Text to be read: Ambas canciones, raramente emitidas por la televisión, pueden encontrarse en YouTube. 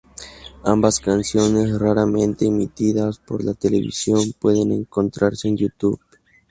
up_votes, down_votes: 2, 2